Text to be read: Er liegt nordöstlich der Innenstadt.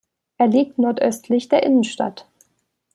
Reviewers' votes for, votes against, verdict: 3, 0, accepted